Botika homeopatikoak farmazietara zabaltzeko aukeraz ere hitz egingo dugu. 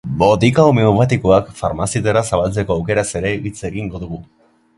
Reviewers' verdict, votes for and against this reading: accepted, 2, 0